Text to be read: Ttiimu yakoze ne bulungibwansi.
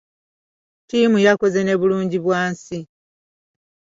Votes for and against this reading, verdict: 2, 0, accepted